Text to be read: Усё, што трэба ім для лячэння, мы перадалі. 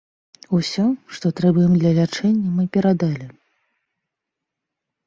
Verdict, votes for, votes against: accepted, 2, 0